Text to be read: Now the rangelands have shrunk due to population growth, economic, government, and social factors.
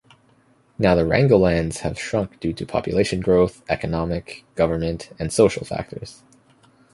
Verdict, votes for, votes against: rejected, 0, 2